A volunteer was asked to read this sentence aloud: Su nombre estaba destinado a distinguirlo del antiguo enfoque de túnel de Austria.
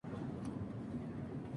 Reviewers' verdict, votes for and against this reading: rejected, 0, 2